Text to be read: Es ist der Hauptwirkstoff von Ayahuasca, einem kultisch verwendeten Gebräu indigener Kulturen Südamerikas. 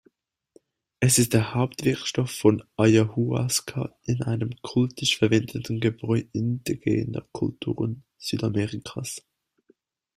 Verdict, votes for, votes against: accepted, 2, 0